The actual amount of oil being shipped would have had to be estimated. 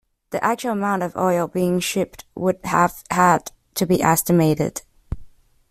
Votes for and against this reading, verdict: 2, 0, accepted